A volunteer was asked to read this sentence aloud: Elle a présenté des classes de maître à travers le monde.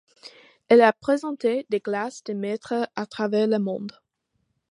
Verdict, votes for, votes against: accepted, 2, 0